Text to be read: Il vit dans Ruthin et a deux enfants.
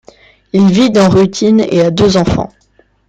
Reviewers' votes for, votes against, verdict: 2, 0, accepted